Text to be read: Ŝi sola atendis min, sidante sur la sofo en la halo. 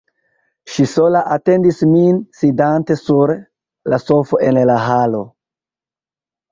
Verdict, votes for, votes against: accepted, 2, 0